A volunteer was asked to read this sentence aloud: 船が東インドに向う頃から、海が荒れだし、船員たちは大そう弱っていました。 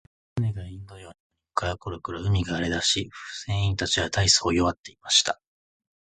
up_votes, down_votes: 2, 3